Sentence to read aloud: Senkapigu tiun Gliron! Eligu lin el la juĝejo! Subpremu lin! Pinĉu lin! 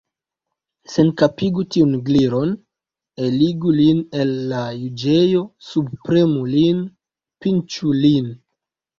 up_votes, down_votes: 2, 0